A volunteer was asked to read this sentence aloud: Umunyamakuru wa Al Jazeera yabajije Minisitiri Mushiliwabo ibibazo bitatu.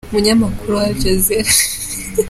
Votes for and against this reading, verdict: 0, 2, rejected